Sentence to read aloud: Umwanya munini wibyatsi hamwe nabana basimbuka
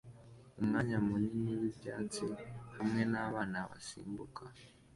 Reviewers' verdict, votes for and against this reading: accepted, 2, 0